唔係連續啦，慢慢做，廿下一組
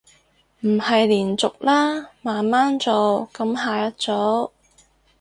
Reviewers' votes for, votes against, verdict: 0, 4, rejected